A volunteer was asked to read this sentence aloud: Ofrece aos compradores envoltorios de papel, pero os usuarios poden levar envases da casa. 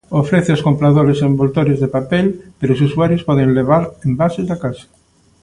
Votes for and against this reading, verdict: 2, 0, accepted